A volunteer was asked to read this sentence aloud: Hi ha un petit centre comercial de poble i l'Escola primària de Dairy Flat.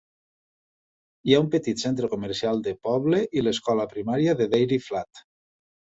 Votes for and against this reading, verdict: 2, 0, accepted